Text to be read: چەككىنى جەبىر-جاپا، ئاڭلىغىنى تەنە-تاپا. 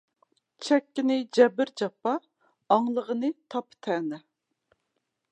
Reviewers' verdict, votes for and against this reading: accepted, 2, 0